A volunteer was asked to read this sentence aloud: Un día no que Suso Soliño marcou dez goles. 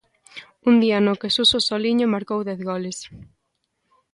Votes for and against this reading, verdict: 2, 0, accepted